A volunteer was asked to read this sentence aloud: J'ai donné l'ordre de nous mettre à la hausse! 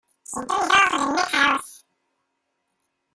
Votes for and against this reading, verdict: 0, 2, rejected